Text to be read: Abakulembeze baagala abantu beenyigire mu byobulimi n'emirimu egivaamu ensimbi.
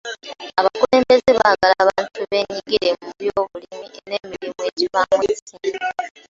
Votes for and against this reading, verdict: 2, 1, accepted